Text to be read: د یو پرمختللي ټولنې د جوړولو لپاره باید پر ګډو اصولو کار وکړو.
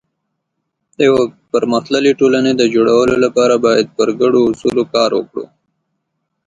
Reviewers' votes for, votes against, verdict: 2, 0, accepted